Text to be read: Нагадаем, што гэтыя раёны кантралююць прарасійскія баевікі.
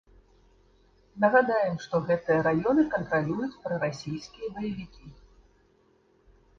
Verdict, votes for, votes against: rejected, 0, 2